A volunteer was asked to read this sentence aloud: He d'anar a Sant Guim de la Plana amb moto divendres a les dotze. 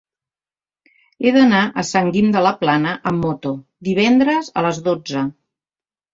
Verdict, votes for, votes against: accepted, 3, 0